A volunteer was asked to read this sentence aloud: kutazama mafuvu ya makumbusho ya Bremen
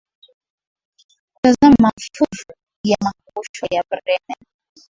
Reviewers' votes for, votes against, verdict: 2, 0, accepted